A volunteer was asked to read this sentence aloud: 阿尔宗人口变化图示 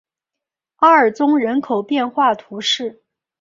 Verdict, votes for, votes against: accepted, 3, 0